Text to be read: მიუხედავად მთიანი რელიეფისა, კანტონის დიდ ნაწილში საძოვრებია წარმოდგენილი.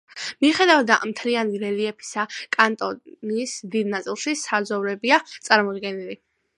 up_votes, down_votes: 0, 2